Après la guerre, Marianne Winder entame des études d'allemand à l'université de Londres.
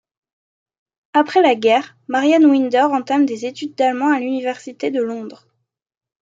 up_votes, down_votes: 2, 0